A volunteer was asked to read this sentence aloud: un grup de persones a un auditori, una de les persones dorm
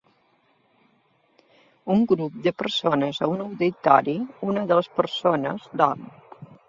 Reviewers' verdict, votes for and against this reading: accepted, 2, 0